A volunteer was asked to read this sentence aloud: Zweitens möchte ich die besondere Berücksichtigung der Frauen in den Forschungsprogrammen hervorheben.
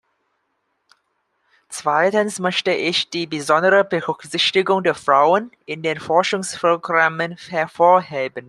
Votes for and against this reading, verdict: 2, 1, accepted